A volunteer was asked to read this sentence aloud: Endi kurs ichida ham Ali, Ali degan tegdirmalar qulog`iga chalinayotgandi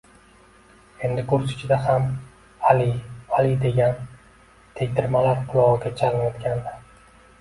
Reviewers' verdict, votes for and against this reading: accepted, 2, 0